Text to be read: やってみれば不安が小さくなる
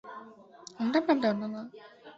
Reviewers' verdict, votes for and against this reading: rejected, 0, 2